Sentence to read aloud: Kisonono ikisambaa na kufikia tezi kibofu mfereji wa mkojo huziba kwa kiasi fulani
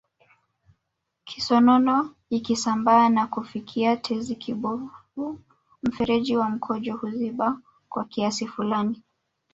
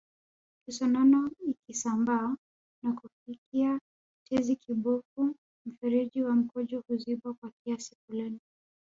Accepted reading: first